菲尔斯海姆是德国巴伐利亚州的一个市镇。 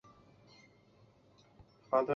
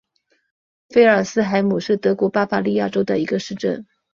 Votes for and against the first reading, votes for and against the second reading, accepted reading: 2, 3, 4, 0, second